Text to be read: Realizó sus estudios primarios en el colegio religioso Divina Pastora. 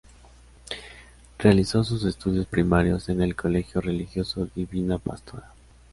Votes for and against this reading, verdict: 2, 0, accepted